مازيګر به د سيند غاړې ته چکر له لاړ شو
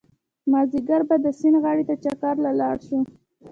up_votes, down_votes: 0, 2